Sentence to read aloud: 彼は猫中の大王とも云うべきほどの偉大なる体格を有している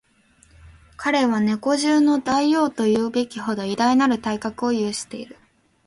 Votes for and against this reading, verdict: 0, 2, rejected